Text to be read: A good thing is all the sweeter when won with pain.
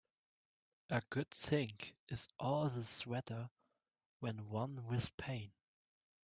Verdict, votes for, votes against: rejected, 0, 2